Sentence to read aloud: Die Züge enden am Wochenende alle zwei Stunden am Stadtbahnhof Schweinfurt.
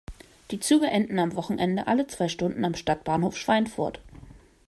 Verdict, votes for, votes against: accepted, 2, 0